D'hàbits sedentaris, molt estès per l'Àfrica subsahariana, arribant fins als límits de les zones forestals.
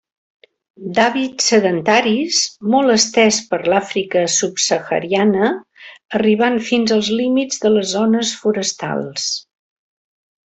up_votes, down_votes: 2, 0